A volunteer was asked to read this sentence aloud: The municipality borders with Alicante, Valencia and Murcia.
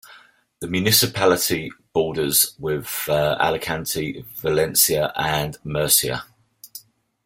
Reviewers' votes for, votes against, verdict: 2, 1, accepted